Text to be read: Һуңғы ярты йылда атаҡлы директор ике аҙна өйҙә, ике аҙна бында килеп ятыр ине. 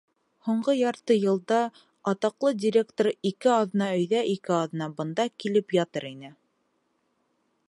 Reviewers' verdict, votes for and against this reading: accepted, 2, 0